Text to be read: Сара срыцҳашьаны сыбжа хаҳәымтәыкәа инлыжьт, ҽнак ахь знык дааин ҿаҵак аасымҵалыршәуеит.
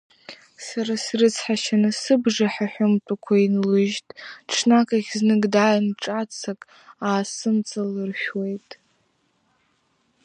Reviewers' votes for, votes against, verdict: 1, 2, rejected